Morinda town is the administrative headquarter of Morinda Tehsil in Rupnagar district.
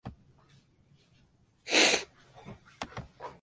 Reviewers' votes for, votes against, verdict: 0, 2, rejected